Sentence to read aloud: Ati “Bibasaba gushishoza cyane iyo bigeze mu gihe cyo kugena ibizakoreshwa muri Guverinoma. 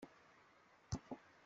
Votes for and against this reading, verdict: 0, 2, rejected